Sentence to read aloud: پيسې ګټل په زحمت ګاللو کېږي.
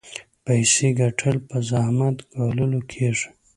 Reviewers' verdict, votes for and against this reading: accepted, 2, 0